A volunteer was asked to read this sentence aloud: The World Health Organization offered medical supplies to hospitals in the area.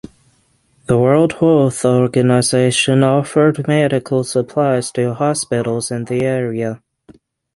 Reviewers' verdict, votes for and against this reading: rejected, 3, 3